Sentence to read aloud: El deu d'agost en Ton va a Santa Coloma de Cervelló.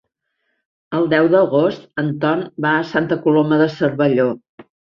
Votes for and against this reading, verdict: 2, 0, accepted